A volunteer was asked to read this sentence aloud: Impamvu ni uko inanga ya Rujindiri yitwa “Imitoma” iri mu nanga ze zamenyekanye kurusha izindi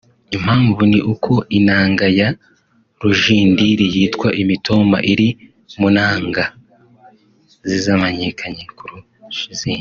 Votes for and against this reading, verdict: 2, 0, accepted